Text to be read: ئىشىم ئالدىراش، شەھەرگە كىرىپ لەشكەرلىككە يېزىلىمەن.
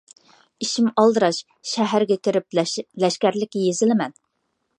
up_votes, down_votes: 0, 2